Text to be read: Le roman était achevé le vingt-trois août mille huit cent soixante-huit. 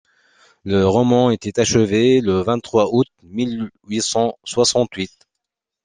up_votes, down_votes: 2, 1